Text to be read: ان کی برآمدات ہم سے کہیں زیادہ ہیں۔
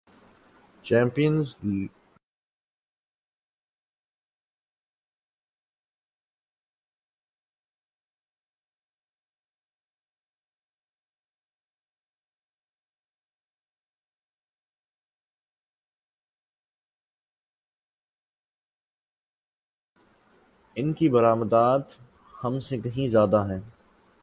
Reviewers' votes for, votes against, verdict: 1, 7, rejected